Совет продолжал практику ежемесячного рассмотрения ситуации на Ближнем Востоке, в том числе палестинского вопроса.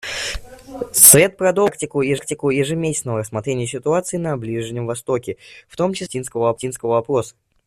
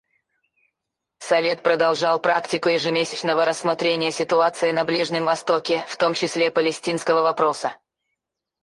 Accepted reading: second